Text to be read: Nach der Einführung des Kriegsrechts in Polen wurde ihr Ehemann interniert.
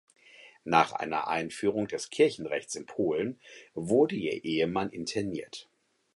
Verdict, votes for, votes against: rejected, 0, 4